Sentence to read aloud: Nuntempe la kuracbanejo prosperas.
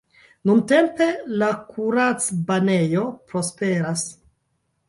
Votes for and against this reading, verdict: 2, 0, accepted